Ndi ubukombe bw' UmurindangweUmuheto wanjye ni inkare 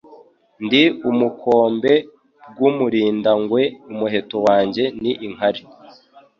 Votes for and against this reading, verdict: 4, 0, accepted